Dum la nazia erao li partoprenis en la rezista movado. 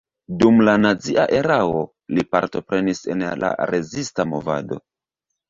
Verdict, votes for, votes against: rejected, 1, 2